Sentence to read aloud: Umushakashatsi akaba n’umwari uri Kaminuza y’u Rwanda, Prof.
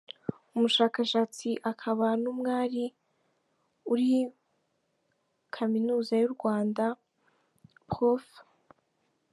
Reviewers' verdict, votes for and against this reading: accepted, 2, 1